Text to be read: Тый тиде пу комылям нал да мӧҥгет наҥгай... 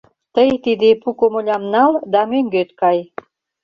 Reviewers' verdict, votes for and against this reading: rejected, 0, 2